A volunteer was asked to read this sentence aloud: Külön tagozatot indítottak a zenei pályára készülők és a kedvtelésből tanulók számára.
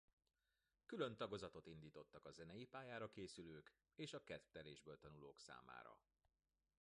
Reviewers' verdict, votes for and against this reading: rejected, 1, 2